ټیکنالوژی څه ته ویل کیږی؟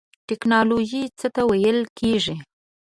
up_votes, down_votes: 2, 1